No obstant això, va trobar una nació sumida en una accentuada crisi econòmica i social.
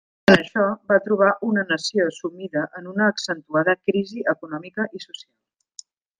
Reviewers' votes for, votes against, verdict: 0, 2, rejected